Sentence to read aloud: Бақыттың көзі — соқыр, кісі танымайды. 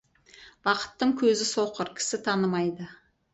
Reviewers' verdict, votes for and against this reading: accepted, 4, 0